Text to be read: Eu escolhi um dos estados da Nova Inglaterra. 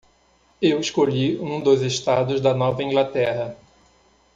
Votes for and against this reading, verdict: 2, 0, accepted